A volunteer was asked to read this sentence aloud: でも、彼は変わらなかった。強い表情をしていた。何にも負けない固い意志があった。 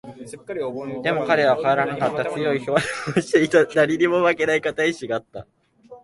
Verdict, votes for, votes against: rejected, 0, 2